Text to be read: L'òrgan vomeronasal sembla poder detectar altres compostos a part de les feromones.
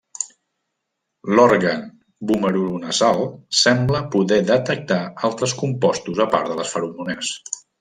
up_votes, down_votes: 1, 2